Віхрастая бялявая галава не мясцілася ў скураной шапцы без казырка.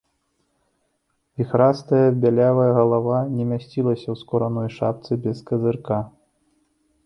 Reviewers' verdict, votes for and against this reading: accepted, 2, 0